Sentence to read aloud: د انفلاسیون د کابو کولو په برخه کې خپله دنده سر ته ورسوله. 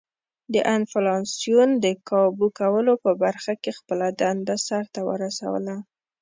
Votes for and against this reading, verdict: 2, 0, accepted